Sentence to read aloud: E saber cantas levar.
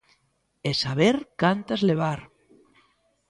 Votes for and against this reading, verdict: 2, 0, accepted